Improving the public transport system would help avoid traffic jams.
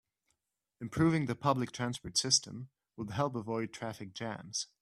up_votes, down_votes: 2, 0